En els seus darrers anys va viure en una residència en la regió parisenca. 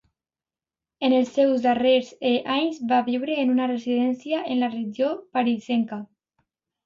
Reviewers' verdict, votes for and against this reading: rejected, 1, 2